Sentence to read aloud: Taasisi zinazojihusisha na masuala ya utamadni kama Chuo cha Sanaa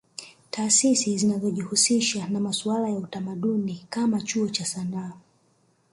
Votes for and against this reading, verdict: 5, 0, accepted